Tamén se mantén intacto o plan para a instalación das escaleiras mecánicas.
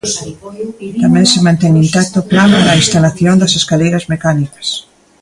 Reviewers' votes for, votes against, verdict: 0, 2, rejected